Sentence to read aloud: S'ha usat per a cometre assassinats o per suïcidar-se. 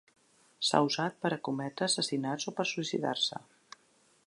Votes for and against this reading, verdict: 3, 0, accepted